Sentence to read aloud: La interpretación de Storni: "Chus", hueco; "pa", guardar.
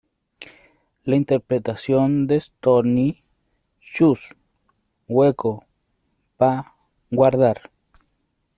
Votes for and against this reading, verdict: 3, 0, accepted